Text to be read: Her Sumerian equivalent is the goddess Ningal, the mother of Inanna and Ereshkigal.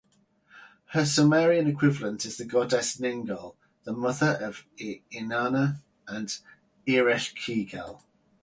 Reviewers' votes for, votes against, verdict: 2, 2, rejected